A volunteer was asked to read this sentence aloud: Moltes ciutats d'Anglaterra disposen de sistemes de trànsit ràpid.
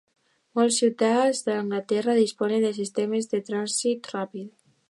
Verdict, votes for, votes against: rejected, 0, 2